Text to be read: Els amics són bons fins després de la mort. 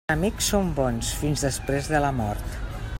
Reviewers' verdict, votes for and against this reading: rejected, 0, 2